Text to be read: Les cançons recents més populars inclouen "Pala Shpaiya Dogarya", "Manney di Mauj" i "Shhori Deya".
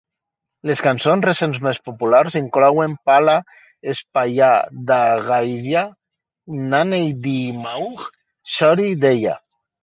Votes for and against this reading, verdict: 2, 1, accepted